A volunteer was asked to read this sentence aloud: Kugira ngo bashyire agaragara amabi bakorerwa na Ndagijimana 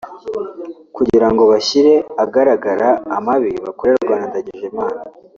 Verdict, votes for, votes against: accepted, 2, 0